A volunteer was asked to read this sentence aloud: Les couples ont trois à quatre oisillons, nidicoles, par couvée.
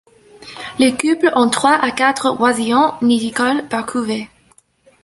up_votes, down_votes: 0, 2